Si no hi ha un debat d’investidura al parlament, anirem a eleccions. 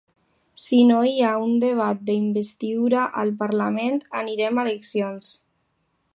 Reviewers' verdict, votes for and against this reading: accepted, 2, 1